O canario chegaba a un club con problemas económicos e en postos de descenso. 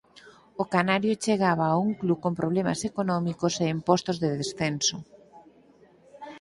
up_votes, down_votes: 4, 0